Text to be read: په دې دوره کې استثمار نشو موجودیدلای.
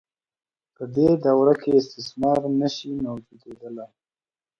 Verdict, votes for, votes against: accepted, 2, 0